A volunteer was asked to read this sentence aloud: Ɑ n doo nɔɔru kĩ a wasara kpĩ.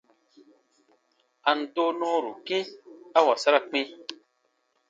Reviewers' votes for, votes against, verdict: 1, 2, rejected